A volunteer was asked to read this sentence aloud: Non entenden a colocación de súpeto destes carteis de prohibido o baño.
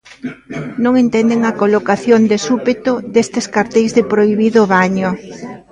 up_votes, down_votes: 0, 2